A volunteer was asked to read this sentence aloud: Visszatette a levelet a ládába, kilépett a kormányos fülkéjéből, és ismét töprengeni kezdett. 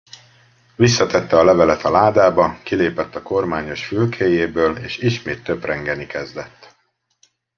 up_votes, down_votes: 2, 0